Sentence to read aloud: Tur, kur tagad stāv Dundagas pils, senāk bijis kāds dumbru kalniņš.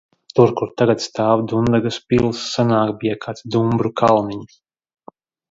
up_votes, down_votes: 0, 2